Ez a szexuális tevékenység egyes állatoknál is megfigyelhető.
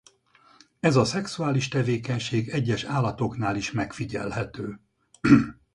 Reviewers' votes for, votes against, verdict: 2, 2, rejected